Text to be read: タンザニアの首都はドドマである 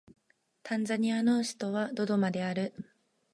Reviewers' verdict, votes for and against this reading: accepted, 2, 0